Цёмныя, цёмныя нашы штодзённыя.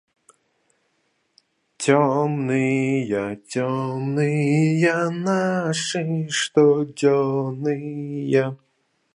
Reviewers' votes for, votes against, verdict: 2, 2, rejected